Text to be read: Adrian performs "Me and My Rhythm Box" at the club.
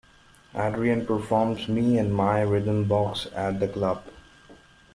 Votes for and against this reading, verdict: 1, 2, rejected